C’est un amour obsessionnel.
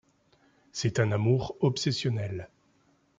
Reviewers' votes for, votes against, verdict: 2, 0, accepted